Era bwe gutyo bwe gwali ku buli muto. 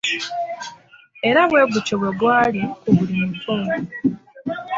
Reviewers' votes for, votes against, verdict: 3, 0, accepted